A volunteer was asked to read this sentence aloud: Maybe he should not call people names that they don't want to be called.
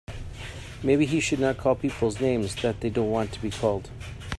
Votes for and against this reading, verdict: 1, 2, rejected